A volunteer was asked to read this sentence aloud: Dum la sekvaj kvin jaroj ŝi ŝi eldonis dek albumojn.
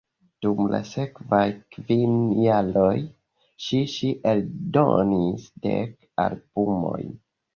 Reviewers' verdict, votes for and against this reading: rejected, 0, 2